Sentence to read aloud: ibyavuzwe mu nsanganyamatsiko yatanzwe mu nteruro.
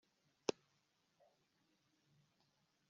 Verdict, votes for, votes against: rejected, 1, 2